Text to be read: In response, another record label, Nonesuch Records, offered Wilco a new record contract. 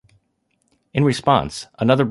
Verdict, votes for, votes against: rejected, 0, 2